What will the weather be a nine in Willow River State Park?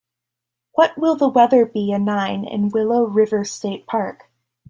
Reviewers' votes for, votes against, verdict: 2, 0, accepted